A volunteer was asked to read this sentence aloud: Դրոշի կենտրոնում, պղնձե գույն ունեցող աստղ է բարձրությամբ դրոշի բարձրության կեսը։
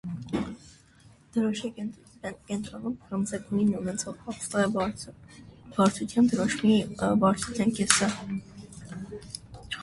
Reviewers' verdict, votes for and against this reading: rejected, 0, 2